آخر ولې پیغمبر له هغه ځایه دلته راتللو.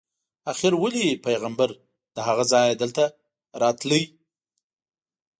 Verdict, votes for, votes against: rejected, 0, 2